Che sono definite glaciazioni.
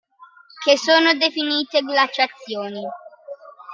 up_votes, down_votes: 2, 0